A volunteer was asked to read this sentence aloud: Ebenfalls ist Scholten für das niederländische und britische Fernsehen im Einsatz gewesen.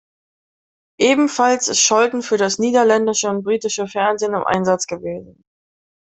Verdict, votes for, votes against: accepted, 2, 0